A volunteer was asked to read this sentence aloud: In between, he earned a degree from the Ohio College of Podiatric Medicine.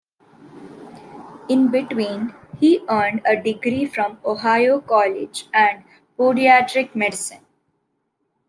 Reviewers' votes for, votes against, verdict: 1, 2, rejected